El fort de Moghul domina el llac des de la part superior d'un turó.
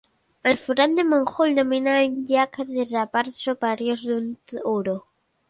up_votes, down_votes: 0, 2